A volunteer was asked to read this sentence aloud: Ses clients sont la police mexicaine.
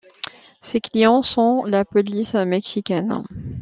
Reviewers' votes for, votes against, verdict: 2, 0, accepted